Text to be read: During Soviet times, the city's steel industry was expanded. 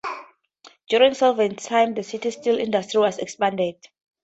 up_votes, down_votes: 2, 2